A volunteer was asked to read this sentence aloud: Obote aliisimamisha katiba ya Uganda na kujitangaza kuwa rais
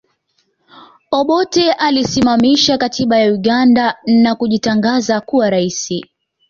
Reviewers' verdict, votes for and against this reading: accepted, 2, 0